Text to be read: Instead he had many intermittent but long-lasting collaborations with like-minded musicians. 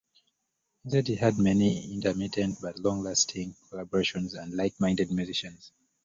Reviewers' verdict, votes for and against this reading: rejected, 0, 2